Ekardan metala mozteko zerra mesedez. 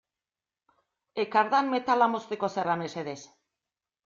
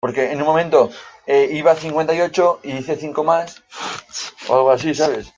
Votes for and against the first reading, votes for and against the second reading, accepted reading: 2, 0, 0, 2, first